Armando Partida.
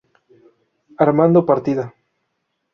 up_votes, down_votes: 2, 0